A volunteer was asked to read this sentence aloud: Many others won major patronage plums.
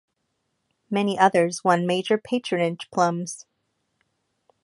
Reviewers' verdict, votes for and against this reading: accepted, 2, 0